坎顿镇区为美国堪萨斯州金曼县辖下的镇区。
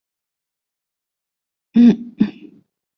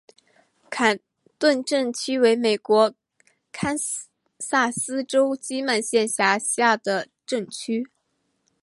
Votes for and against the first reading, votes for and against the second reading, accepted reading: 1, 2, 2, 0, second